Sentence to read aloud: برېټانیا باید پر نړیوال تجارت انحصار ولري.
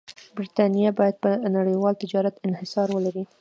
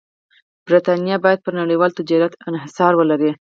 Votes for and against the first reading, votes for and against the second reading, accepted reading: 2, 0, 2, 4, first